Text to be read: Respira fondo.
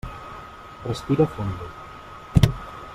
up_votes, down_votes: 1, 2